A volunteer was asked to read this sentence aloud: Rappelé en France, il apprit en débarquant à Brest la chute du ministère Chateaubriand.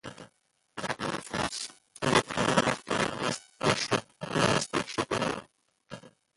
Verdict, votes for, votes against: rejected, 0, 2